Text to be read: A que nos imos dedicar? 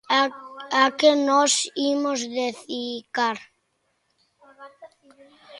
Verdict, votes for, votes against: rejected, 0, 2